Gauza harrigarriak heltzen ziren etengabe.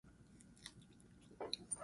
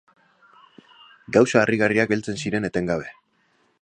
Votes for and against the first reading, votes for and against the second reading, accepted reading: 0, 2, 2, 1, second